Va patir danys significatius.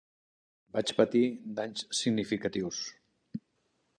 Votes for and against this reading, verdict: 1, 2, rejected